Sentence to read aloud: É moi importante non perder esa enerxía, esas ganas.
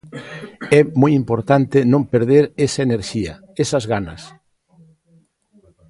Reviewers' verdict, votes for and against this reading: accepted, 2, 0